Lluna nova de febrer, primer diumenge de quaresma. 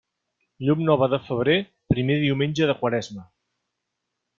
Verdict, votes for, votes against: rejected, 0, 2